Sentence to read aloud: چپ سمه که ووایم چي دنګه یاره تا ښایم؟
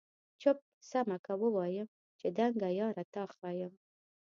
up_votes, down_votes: 1, 2